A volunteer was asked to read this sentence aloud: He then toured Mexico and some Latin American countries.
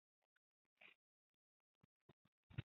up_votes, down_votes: 0, 2